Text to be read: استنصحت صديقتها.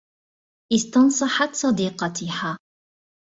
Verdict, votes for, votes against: accepted, 2, 0